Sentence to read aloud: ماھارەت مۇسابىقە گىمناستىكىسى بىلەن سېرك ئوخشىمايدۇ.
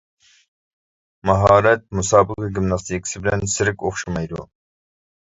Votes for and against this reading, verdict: 0, 2, rejected